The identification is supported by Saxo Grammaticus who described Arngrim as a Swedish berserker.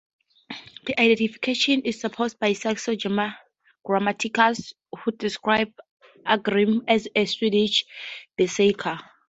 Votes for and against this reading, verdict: 0, 2, rejected